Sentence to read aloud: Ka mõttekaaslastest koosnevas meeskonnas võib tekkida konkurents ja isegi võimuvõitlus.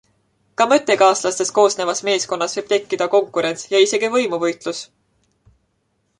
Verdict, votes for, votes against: accepted, 2, 0